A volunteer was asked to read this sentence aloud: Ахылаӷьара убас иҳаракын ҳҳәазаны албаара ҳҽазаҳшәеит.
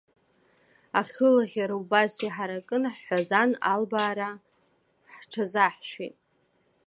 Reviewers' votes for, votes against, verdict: 0, 2, rejected